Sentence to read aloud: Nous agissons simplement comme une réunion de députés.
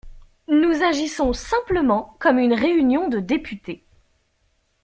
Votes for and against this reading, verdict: 2, 0, accepted